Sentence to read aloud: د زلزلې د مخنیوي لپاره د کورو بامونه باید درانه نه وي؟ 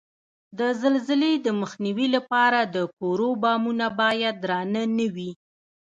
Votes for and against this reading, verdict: 2, 0, accepted